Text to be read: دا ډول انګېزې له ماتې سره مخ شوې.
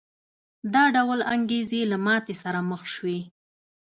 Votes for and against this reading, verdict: 2, 0, accepted